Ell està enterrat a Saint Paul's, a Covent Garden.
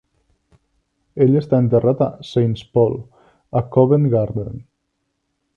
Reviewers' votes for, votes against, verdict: 1, 2, rejected